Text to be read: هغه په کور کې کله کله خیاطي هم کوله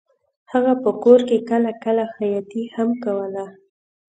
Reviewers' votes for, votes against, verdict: 2, 0, accepted